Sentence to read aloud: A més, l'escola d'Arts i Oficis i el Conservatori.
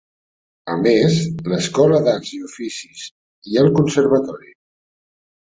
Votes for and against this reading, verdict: 4, 0, accepted